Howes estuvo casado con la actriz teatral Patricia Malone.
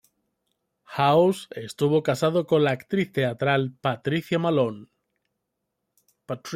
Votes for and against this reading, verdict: 1, 2, rejected